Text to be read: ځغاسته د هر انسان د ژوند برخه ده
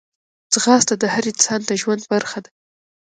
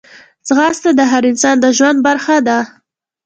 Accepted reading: second